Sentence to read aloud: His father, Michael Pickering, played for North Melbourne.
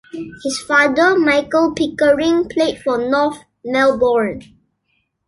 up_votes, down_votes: 2, 0